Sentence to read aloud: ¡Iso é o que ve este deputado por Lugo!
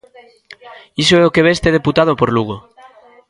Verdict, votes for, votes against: rejected, 1, 2